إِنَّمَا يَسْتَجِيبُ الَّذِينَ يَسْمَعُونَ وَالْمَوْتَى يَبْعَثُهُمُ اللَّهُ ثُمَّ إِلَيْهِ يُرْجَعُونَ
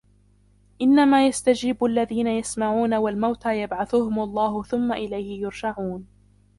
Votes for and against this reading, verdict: 0, 2, rejected